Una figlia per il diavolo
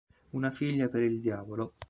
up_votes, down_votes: 2, 0